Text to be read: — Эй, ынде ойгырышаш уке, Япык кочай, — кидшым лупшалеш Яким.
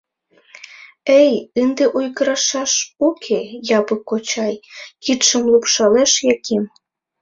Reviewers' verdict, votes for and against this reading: rejected, 1, 2